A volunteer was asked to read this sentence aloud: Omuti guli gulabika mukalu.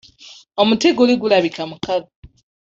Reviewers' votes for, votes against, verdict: 2, 0, accepted